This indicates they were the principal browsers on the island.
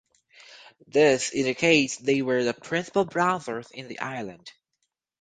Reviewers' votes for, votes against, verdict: 0, 4, rejected